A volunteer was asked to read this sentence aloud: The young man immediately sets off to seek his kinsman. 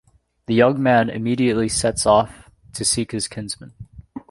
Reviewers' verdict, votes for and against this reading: accepted, 3, 0